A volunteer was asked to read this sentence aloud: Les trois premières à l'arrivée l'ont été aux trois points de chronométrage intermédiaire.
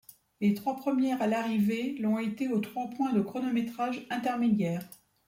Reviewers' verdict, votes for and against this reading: accepted, 2, 0